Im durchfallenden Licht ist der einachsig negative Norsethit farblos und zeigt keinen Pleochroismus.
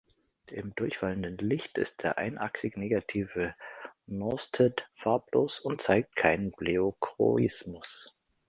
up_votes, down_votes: 1, 2